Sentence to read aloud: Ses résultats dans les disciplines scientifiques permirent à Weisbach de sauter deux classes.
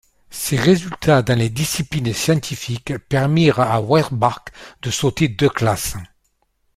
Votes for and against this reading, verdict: 2, 0, accepted